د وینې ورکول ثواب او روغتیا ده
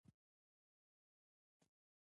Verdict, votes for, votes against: accepted, 2, 1